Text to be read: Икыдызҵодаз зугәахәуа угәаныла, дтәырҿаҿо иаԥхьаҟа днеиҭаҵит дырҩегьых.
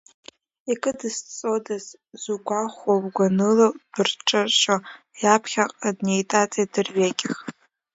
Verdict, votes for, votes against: rejected, 2, 3